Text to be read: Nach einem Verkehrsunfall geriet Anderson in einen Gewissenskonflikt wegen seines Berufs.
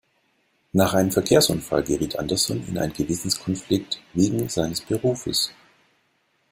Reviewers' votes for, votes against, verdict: 0, 2, rejected